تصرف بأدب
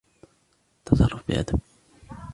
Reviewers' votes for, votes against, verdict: 3, 0, accepted